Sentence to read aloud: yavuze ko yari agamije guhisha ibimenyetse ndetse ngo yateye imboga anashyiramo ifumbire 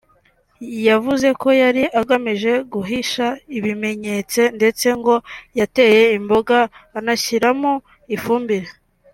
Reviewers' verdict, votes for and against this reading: accepted, 3, 0